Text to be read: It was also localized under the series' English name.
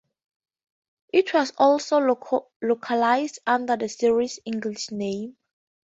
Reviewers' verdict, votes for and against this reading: accepted, 2, 0